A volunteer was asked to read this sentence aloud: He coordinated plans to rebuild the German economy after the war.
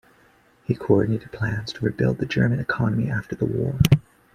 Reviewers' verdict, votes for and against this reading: accepted, 2, 1